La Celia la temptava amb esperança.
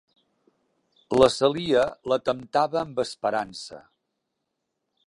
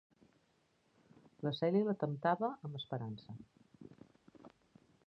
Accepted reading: second